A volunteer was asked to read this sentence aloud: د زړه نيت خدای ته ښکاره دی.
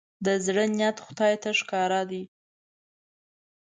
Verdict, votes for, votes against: accepted, 2, 0